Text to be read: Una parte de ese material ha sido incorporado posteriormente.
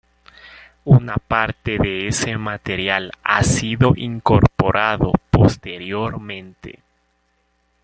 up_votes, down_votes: 1, 2